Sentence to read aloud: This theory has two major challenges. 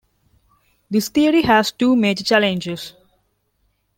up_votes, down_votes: 2, 0